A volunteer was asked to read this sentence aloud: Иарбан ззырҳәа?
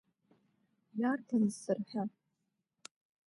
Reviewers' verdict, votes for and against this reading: accepted, 2, 0